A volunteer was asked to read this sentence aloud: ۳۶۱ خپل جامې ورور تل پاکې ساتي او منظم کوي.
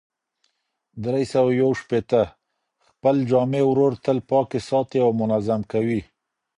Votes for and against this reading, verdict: 0, 2, rejected